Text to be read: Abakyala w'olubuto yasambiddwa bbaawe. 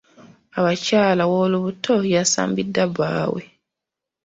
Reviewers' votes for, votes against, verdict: 2, 1, accepted